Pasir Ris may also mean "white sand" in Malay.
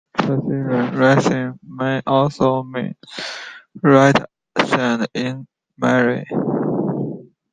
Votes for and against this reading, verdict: 1, 2, rejected